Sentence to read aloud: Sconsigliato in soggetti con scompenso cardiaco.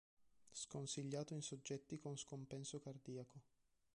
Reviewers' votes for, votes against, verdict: 4, 0, accepted